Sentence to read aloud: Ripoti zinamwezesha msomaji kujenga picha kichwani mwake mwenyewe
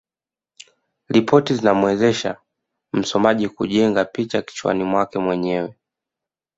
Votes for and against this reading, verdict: 2, 0, accepted